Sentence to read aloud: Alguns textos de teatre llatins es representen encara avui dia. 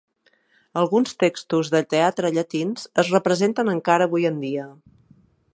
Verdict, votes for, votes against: rejected, 1, 2